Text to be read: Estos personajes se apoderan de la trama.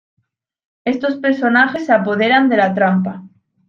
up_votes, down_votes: 1, 2